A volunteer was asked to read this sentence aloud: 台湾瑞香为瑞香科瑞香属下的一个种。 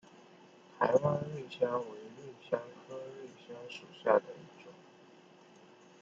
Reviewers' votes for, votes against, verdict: 0, 2, rejected